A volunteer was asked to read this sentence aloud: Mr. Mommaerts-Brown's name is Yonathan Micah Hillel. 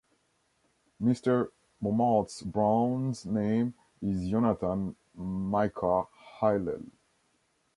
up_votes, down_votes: 2, 0